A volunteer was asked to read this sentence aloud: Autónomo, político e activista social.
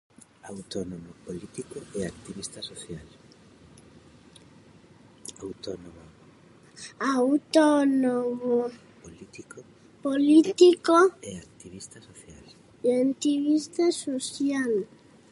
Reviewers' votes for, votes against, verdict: 0, 2, rejected